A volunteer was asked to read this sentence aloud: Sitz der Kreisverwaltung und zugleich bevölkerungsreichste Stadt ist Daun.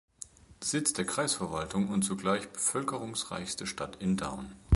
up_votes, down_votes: 0, 2